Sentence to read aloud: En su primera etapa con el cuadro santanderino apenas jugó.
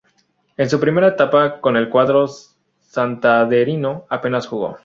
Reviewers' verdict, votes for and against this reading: accepted, 2, 0